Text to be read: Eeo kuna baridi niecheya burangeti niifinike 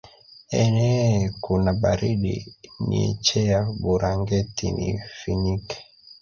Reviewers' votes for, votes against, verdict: 2, 0, accepted